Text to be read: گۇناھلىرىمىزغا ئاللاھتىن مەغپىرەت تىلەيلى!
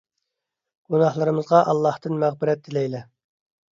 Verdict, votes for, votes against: accepted, 2, 0